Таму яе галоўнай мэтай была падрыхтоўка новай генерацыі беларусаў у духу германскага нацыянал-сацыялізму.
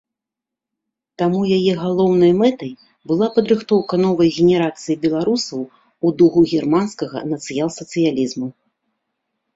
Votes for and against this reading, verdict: 1, 2, rejected